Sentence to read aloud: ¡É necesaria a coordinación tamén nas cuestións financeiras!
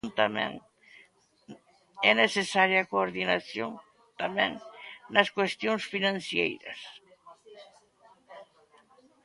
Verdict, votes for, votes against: rejected, 0, 2